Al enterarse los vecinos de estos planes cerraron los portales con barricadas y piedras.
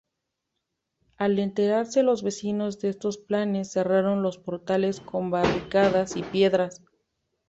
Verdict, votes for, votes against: accepted, 2, 0